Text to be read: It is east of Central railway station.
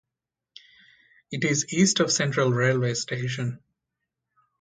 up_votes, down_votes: 2, 0